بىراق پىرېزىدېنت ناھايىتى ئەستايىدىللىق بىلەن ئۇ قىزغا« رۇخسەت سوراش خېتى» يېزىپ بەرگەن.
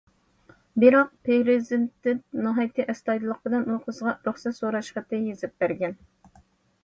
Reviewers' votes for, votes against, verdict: 0, 2, rejected